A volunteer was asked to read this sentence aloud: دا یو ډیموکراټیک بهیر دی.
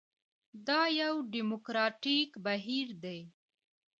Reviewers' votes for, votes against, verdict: 2, 0, accepted